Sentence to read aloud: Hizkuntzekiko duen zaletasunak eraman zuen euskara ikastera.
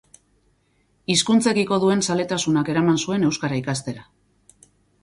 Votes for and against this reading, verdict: 2, 2, rejected